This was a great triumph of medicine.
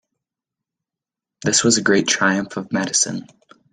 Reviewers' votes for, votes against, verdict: 2, 0, accepted